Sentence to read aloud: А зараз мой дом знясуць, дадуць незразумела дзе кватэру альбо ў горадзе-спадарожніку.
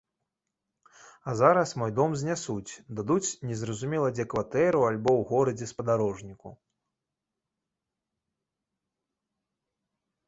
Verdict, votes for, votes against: accepted, 2, 0